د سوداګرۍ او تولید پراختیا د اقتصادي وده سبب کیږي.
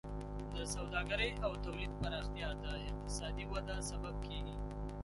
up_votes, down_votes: 3, 0